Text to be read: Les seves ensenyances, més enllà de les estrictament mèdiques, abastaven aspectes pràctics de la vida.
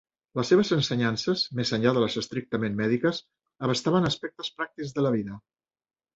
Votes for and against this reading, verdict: 3, 0, accepted